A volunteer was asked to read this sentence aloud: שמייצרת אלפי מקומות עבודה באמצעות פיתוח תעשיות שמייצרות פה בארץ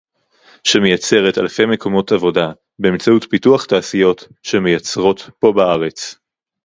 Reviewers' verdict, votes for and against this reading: accepted, 2, 0